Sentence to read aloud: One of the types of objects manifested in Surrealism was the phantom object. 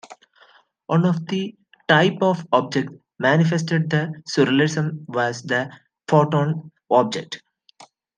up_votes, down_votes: 0, 2